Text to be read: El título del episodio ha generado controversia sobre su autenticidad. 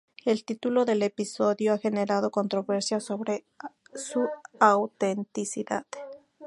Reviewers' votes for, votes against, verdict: 2, 0, accepted